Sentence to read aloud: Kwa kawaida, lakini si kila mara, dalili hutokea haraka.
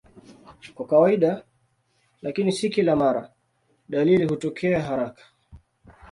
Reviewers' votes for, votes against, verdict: 2, 0, accepted